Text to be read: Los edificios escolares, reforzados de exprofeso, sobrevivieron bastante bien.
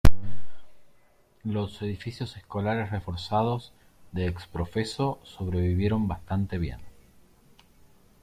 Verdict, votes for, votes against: rejected, 1, 2